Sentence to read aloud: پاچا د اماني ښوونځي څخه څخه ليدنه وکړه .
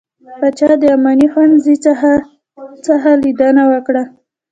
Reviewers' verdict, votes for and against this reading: accepted, 2, 0